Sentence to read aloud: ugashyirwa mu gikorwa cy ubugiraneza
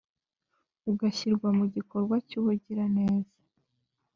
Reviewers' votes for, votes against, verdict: 2, 0, accepted